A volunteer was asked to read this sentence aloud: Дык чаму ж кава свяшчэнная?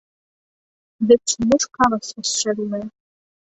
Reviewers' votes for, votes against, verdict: 1, 2, rejected